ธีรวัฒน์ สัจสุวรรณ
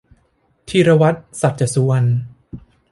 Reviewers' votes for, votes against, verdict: 2, 0, accepted